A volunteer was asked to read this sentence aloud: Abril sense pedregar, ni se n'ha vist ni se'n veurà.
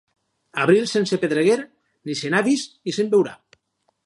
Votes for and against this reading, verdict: 2, 2, rejected